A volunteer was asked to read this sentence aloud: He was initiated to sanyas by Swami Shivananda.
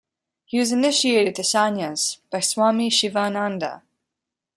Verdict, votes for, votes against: accepted, 2, 0